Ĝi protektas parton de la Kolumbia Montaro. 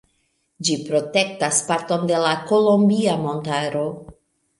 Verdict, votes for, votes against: accepted, 2, 0